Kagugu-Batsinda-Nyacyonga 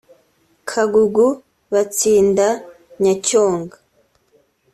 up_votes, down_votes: 2, 0